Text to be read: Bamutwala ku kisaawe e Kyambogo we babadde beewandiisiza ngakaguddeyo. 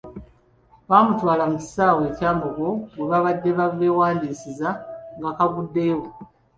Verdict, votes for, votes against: accepted, 2, 0